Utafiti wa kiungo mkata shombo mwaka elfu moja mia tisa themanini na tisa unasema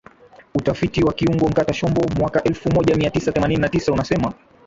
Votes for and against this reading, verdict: 0, 2, rejected